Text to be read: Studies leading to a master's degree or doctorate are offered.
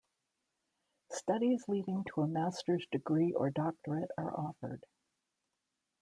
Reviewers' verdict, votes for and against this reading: accepted, 2, 0